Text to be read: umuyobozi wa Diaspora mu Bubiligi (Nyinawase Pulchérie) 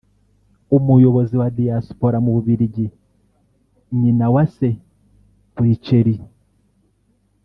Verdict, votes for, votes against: rejected, 1, 2